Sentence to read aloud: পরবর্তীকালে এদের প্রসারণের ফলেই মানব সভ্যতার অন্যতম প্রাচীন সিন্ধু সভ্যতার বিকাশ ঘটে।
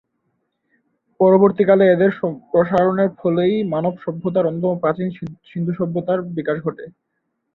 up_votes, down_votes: 0, 3